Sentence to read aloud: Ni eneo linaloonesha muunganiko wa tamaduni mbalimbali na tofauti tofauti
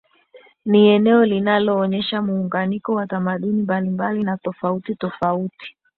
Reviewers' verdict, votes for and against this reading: accepted, 13, 1